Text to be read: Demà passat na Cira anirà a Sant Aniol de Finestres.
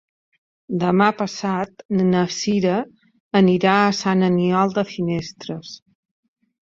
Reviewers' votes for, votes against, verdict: 4, 0, accepted